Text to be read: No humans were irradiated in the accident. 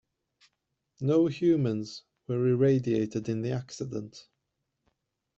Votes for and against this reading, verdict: 2, 1, accepted